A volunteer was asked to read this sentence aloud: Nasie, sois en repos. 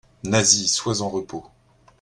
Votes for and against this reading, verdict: 2, 0, accepted